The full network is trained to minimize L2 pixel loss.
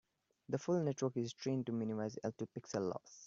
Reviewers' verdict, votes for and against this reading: rejected, 0, 2